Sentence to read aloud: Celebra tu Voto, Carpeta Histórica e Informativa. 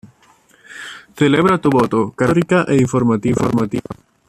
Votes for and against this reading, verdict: 1, 2, rejected